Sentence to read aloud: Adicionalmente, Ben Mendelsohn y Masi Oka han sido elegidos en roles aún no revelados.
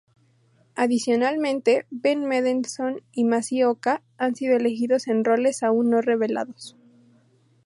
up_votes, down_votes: 0, 2